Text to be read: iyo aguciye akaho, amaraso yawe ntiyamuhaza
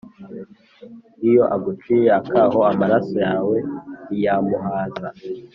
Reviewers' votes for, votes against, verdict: 2, 0, accepted